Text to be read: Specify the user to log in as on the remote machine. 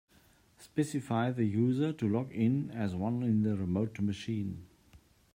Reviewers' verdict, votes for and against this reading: rejected, 0, 2